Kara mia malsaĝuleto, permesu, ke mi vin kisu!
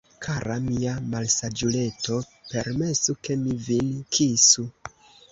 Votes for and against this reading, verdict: 1, 2, rejected